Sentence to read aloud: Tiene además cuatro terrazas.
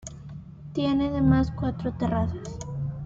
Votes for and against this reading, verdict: 2, 0, accepted